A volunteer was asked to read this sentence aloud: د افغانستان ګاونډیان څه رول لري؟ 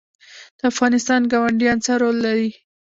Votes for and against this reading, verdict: 2, 0, accepted